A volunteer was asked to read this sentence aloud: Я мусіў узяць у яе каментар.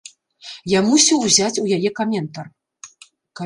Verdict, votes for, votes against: rejected, 0, 2